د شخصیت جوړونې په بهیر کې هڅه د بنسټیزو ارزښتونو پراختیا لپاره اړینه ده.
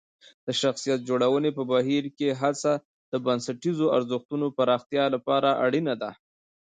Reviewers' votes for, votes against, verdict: 1, 2, rejected